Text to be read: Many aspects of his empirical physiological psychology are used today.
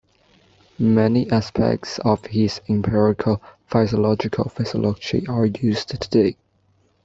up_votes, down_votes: 0, 2